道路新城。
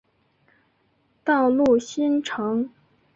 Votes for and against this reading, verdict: 2, 0, accepted